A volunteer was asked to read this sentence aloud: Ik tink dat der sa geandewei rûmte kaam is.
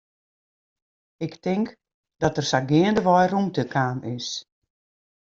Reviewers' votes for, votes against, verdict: 2, 0, accepted